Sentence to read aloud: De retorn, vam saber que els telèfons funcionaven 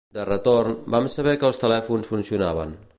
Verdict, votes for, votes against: accepted, 2, 0